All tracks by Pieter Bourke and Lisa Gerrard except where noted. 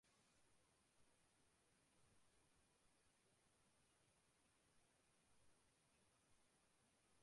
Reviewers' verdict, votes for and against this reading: rejected, 0, 2